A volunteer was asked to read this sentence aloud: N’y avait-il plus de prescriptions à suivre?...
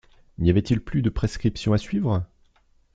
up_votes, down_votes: 2, 0